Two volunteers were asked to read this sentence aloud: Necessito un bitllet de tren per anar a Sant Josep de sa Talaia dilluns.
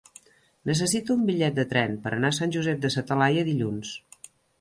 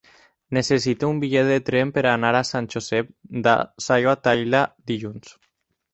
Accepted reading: first